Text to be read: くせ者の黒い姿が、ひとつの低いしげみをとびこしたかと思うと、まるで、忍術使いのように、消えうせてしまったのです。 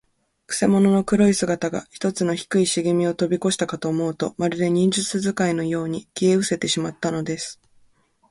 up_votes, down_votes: 4, 0